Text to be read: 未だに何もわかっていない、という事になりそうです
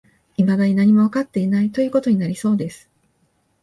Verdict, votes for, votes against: accepted, 2, 0